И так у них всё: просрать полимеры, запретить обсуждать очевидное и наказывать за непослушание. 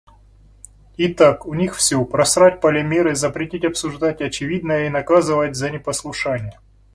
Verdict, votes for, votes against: accepted, 2, 0